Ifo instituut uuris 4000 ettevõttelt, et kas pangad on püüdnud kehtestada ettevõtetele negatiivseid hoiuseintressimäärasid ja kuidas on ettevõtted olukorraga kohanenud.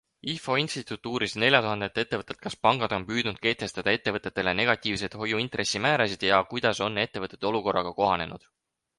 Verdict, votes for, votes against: rejected, 0, 2